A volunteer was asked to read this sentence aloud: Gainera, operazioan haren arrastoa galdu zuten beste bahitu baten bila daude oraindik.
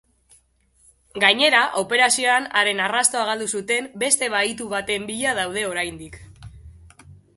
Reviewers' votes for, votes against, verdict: 2, 0, accepted